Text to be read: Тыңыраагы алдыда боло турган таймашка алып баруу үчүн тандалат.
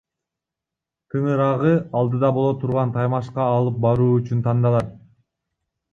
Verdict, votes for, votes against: accepted, 2, 1